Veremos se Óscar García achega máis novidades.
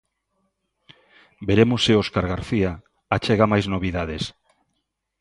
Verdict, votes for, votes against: accepted, 2, 0